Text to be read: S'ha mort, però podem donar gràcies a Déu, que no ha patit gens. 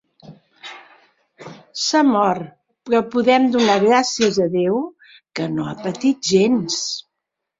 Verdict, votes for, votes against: accepted, 2, 0